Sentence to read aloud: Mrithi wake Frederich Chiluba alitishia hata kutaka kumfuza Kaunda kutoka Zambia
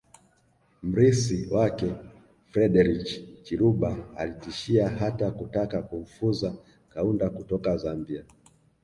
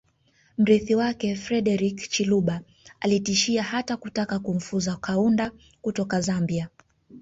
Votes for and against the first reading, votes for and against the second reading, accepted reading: 1, 2, 3, 0, second